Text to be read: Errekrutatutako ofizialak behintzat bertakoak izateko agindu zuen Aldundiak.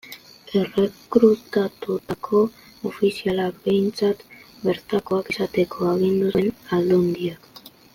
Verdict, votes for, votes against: rejected, 1, 2